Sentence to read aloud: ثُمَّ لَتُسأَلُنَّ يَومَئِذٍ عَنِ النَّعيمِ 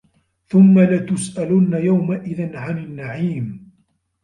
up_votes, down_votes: 2, 1